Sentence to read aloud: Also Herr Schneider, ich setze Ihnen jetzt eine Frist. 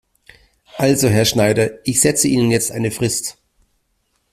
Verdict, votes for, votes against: accepted, 2, 1